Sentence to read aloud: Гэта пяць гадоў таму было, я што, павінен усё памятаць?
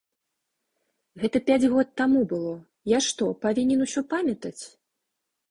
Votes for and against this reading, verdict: 0, 2, rejected